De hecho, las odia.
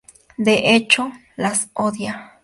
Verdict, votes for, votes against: accepted, 4, 0